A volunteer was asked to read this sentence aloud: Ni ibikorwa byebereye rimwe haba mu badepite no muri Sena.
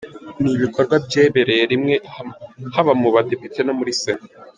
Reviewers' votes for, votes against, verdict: 1, 2, rejected